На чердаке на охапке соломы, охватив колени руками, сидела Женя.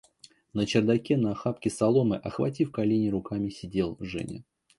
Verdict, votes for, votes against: rejected, 1, 2